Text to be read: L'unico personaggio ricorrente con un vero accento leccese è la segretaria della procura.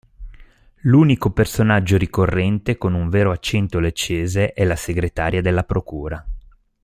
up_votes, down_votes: 2, 0